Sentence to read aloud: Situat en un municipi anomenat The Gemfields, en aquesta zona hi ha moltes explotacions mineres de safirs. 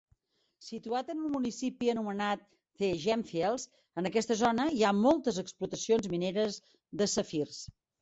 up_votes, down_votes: 2, 1